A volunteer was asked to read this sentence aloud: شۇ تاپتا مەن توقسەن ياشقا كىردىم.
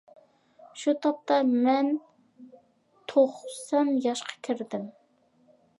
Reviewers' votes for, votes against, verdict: 2, 0, accepted